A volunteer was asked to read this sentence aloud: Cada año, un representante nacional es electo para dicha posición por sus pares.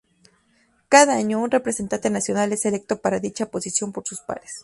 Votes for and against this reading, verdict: 2, 0, accepted